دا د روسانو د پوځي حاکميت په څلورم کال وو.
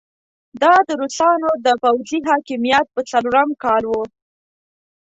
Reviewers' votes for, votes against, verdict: 2, 0, accepted